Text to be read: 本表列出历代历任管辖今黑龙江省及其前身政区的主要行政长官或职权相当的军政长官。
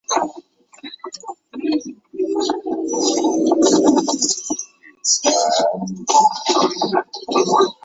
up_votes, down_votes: 0, 2